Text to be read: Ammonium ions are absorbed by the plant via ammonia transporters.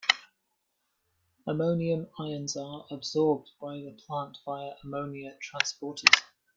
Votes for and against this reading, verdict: 2, 0, accepted